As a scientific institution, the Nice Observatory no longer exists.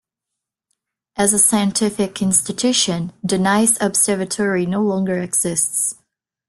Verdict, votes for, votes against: rejected, 0, 2